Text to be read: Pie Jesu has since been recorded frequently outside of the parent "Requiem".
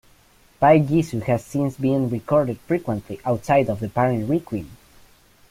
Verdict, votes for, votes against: rejected, 1, 2